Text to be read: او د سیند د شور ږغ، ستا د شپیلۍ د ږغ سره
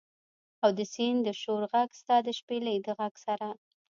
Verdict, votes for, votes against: rejected, 1, 2